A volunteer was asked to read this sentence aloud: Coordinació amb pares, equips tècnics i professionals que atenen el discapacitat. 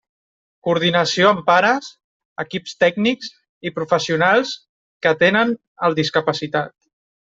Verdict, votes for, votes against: accepted, 2, 0